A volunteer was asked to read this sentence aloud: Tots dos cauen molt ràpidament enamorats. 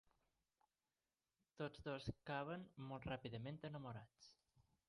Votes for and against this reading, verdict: 0, 2, rejected